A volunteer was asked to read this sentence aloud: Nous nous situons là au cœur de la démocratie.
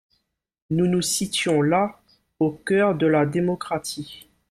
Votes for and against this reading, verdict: 1, 2, rejected